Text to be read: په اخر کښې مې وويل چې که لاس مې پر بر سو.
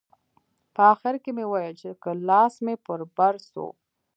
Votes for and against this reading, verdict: 2, 0, accepted